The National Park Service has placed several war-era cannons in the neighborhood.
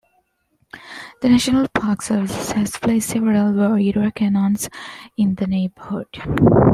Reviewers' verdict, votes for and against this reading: accepted, 2, 1